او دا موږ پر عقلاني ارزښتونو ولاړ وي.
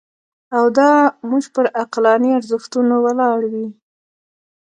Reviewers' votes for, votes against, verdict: 1, 2, rejected